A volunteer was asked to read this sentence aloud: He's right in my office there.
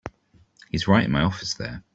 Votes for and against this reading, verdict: 2, 1, accepted